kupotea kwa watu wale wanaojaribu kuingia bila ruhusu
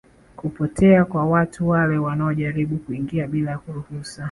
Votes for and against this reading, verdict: 2, 0, accepted